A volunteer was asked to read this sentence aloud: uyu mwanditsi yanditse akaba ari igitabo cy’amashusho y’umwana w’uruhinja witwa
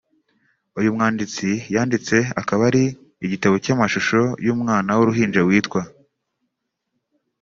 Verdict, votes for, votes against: accepted, 2, 0